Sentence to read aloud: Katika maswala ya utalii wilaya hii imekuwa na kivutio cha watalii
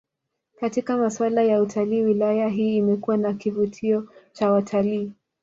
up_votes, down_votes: 2, 0